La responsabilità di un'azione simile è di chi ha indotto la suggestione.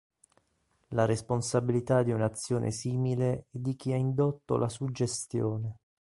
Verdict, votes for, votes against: accepted, 2, 0